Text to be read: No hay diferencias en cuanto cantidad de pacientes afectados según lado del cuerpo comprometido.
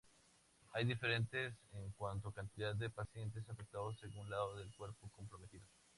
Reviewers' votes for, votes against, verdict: 0, 2, rejected